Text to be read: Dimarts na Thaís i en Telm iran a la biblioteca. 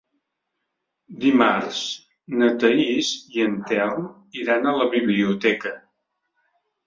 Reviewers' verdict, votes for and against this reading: accepted, 3, 0